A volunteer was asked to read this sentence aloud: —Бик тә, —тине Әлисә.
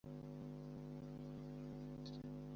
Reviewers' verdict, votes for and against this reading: rejected, 0, 2